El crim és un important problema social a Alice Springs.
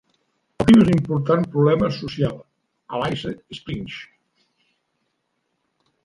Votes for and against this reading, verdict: 0, 2, rejected